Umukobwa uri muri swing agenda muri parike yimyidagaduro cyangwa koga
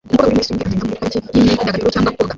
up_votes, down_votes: 0, 2